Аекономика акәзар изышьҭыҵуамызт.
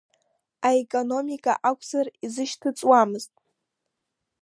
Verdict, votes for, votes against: accepted, 2, 0